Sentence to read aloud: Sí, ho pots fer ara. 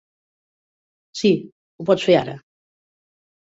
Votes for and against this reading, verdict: 3, 0, accepted